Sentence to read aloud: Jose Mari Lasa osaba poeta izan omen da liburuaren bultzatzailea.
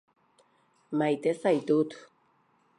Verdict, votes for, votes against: rejected, 0, 2